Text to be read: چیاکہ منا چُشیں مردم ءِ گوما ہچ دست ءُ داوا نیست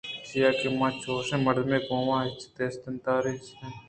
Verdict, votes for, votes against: rejected, 1, 2